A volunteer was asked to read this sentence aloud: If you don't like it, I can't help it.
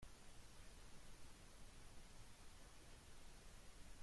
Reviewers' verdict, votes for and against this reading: rejected, 0, 2